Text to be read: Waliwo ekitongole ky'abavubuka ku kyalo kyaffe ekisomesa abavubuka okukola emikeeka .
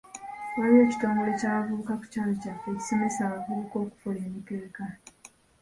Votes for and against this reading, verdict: 2, 0, accepted